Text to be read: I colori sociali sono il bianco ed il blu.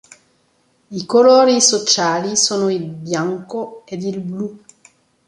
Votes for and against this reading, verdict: 2, 0, accepted